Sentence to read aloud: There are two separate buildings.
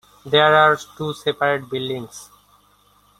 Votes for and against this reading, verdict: 2, 0, accepted